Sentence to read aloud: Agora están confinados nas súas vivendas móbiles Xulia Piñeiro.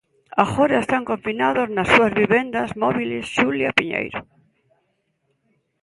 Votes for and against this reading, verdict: 2, 1, accepted